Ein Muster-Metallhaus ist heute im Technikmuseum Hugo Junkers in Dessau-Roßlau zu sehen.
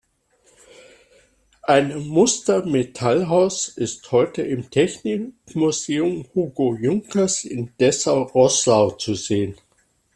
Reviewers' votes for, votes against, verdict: 2, 0, accepted